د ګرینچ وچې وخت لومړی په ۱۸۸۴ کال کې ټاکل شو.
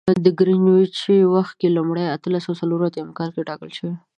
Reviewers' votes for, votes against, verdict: 0, 2, rejected